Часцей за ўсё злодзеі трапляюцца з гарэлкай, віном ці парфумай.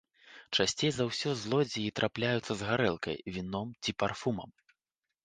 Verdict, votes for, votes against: rejected, 1, 2